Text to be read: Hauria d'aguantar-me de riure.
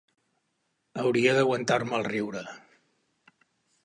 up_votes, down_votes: 0, 3